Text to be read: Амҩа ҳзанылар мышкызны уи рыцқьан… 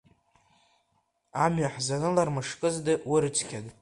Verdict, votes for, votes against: rejected, 1, 2